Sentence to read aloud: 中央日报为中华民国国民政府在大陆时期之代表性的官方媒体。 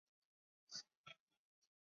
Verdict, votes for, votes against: accepted, 4, 1